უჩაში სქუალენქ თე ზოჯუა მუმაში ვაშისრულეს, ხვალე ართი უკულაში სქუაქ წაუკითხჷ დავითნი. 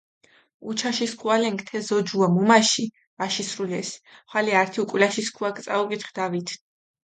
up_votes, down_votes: 2, 0